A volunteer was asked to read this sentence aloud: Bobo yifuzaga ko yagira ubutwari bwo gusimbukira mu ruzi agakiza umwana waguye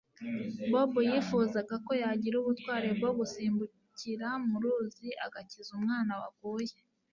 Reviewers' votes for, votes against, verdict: 2, 0, accepted